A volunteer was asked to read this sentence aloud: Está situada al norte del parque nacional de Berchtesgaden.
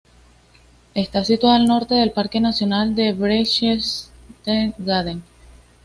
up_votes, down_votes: 1, 2